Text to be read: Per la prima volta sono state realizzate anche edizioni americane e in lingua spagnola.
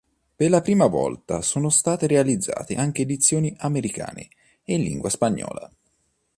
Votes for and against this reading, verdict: 2, 0, accepted